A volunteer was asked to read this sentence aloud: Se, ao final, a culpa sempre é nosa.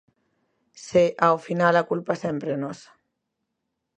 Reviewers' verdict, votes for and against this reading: accepted, 2, 0